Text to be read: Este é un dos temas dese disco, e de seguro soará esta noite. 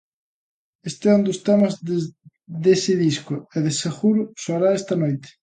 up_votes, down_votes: 0, 2